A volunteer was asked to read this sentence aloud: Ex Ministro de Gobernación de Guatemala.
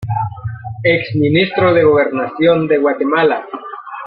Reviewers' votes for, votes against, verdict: 3, 0, accepted